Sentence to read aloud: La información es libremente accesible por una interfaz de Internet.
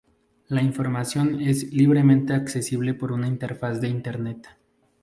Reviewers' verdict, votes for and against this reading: accepted, 2, 0